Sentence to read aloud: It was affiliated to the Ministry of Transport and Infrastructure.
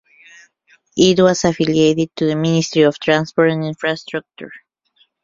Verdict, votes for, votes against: rejected, 0, 2